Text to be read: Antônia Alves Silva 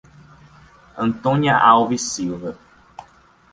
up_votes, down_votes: 2, 0